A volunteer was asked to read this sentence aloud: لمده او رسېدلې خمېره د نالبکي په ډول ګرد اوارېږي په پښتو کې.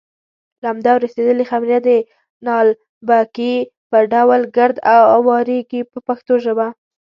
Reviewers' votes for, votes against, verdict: 0, 2, rejected